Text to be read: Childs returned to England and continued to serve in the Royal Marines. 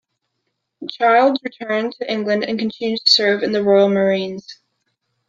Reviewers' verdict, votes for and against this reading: accepted, 2, 0